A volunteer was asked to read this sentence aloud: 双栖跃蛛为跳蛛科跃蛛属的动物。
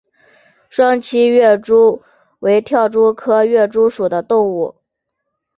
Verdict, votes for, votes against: accepted, 3, 0